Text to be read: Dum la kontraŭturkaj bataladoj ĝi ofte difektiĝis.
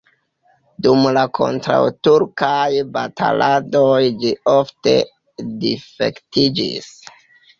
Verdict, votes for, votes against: accepted, 3, 1